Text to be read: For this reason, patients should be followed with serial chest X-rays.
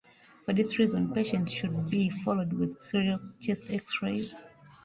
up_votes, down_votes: 2, 0